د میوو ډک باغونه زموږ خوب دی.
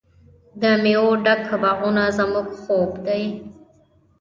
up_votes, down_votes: 2, 1